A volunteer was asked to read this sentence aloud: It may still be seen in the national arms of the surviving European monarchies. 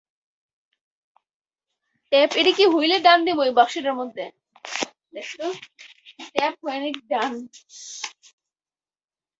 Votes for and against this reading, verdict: 0, 4, rejected